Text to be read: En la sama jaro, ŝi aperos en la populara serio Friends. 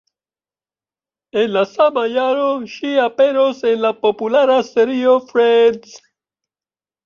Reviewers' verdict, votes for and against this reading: rejected, 1, 3